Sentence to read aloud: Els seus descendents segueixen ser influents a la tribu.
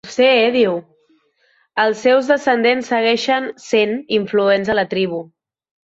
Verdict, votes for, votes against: rejected, 0, 2